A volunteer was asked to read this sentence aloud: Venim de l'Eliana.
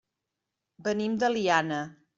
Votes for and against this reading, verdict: 1, 2, rejected